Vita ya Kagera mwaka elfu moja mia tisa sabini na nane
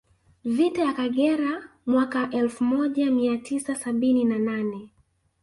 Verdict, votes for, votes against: accepted, 5, 1